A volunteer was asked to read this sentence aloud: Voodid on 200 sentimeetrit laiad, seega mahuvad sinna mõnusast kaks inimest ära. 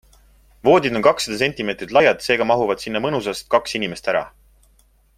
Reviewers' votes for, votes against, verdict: 0, 2, rejected